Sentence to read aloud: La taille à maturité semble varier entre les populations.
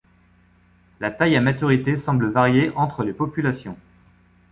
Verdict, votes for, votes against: accepted, 2, 0